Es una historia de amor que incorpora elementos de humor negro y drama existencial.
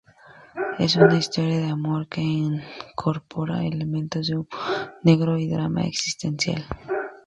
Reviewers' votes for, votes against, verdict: 0, 2, rejected